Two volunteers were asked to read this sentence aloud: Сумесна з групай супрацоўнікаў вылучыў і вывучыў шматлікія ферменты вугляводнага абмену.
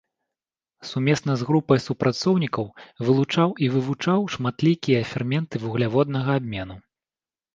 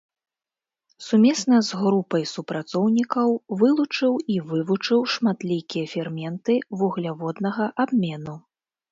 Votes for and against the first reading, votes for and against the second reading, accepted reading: 1, 3, 2, 0, second